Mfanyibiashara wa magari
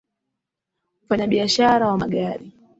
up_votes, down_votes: 2, 3